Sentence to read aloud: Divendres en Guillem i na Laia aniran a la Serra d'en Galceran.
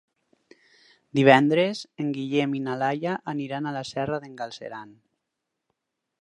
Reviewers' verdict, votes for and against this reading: accepted, 6, 0